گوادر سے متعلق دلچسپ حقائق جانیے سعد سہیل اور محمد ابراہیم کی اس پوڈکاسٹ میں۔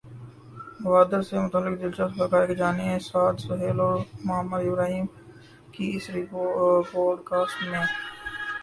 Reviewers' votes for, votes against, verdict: 6, 6, rejected